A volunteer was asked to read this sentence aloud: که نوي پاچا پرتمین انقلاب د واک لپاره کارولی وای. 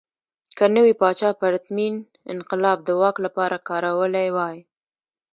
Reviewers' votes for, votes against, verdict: 2, 0, accepted